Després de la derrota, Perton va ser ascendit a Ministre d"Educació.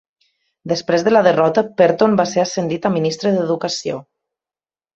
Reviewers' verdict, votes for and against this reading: accepted, 2, 0